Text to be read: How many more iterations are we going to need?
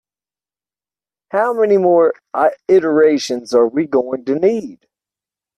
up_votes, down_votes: 0, 2